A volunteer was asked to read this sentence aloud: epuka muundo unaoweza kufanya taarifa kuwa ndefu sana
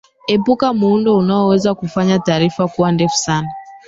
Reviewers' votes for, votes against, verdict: 0, 2, rejected